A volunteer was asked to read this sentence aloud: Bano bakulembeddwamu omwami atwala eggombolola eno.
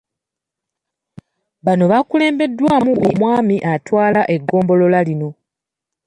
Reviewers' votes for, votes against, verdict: 0, 2, rejected